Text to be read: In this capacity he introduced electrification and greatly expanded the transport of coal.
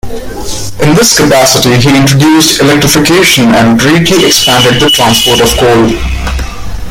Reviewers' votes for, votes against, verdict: 2, 0, accepted